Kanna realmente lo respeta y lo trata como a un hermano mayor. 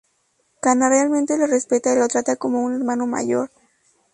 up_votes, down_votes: 2, 0